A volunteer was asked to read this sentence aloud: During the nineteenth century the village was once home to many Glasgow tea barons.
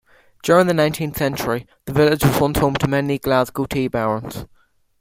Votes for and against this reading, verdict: 2, 0, accepted